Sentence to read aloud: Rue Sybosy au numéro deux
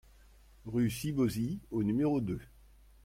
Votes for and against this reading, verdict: 2, 0, accepted